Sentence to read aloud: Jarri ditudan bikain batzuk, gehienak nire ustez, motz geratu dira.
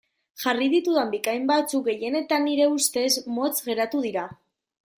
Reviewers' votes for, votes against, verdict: 1, 2, rejected